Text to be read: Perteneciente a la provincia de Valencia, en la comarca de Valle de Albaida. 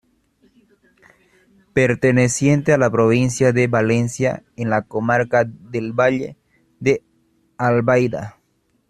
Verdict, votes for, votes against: rejected, 0, 2